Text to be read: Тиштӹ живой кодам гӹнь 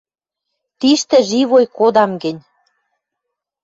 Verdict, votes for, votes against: accepted, 2, 0